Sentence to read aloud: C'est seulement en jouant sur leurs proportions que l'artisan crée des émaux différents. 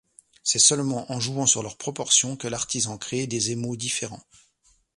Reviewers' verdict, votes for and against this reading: rejected, 1, 2